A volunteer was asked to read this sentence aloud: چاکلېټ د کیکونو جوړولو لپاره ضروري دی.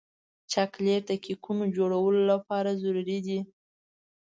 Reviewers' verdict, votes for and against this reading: accepted, 2, 0